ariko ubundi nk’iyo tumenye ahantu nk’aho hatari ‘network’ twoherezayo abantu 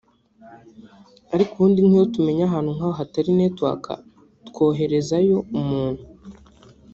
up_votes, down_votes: 1, 2